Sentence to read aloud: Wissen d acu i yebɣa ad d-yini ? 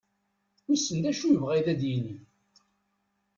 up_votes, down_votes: 2, 0